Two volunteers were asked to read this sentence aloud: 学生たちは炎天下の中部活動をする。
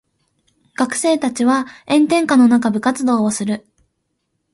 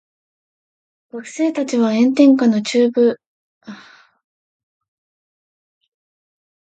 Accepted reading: first